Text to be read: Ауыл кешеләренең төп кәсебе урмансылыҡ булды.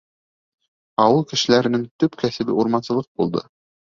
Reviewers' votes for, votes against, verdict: 2, 0, accepted